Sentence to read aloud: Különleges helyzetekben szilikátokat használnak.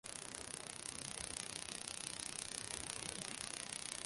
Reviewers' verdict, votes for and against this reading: rejected, 0, 2